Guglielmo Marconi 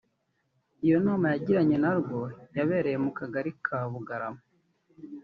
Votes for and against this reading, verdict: 0, 2, rejected